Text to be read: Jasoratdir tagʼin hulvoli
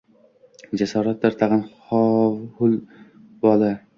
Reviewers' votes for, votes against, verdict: 0, 2, rejected